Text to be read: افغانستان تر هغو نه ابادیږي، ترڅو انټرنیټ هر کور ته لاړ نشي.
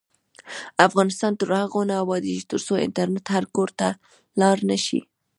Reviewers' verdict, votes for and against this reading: accepted, 2, 0